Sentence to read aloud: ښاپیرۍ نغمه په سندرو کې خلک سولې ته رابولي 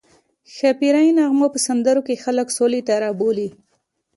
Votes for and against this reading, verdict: 2, 0, accepted